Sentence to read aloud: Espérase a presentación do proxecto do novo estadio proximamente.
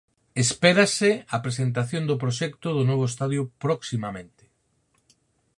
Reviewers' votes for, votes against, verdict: 4, 0, accepted